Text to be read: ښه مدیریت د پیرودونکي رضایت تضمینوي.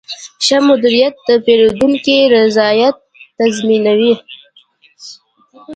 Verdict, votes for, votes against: accepted, 2, 0